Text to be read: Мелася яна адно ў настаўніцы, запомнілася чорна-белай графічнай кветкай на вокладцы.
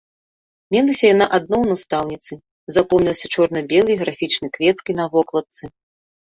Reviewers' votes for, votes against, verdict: 2, 0, accepted